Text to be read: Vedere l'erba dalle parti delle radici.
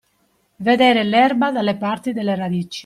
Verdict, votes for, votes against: accepted, 2, 0